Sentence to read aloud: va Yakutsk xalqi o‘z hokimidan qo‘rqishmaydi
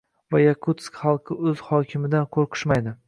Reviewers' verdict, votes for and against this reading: accepted, 2, 0